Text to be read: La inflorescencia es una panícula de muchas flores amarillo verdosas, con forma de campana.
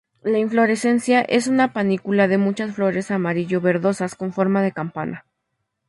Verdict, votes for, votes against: accepted, 2, 0